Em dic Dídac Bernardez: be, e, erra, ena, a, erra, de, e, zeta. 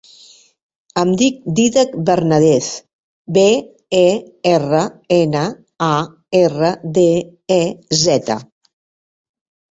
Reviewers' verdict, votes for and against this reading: rejected, 1, 2